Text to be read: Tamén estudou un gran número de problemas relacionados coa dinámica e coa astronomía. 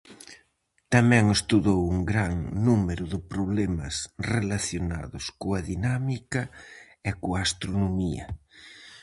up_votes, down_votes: 4, 0